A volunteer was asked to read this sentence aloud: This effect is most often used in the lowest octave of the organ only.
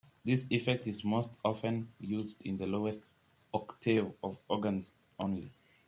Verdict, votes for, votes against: accepted, 2, 1